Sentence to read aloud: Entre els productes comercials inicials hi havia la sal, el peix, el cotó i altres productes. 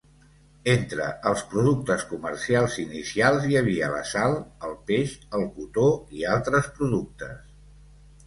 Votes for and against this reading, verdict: 2, 0, accepted